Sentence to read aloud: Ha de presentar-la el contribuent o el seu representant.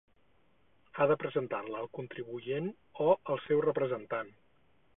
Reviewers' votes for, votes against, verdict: 0, 4, rejected